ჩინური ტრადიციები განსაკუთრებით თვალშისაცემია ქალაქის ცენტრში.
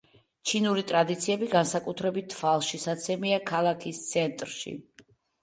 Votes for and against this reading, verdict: 2, 0, accepted